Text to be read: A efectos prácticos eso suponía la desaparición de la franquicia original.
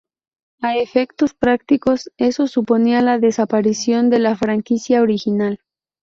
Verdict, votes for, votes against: rejected, 2, 2